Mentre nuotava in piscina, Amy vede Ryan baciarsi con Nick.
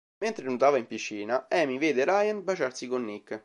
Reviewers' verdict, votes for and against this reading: accepted, 2, 0